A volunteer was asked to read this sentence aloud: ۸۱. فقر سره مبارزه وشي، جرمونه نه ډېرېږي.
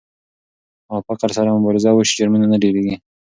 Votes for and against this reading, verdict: 0, 2, rejected